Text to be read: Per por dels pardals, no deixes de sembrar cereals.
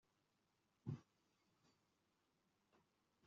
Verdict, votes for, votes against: rejected, 0, 2